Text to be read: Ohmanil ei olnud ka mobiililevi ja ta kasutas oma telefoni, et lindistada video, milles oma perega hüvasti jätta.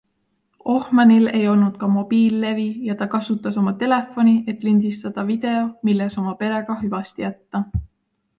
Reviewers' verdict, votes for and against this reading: accepted, 2, 0